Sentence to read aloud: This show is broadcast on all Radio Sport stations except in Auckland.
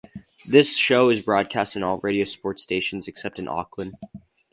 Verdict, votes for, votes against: accepted, 2, 0